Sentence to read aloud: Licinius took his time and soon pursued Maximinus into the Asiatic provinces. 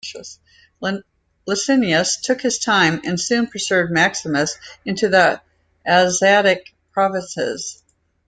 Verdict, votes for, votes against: rejected, 1, 2